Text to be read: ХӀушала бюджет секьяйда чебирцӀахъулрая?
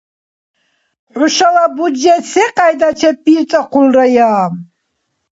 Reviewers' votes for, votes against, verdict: 0, 2, rejected